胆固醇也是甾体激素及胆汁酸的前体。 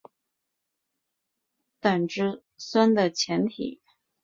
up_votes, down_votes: 1, 5